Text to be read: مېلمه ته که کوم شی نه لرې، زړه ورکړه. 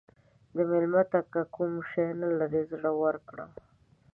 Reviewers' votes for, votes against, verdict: 2, 1, accepted